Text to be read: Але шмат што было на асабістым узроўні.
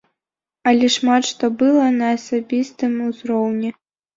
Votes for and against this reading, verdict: 1, 2, rejected